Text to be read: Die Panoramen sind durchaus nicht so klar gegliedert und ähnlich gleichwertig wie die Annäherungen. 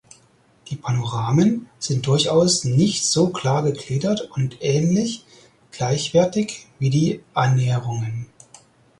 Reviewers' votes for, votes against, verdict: 4, 0, accepted